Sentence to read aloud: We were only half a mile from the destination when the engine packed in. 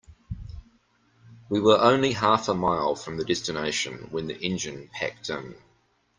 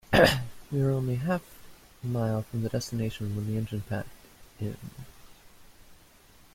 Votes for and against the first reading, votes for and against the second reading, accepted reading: 2, 0, 1, 2, first